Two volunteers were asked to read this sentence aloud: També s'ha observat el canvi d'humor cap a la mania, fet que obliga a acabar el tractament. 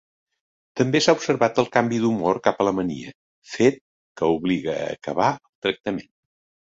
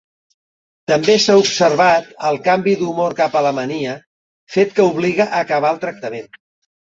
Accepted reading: second